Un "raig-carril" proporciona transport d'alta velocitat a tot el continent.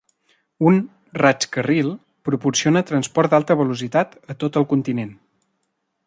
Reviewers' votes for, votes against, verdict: 2, 0, accepted